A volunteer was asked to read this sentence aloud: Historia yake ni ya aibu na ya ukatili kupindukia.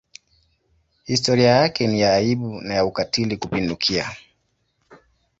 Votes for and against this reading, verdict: 2, 0, accepted